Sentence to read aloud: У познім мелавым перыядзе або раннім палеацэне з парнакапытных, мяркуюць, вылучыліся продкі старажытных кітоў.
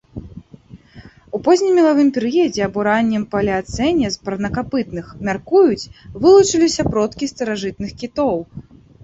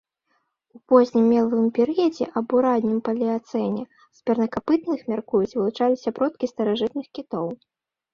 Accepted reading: first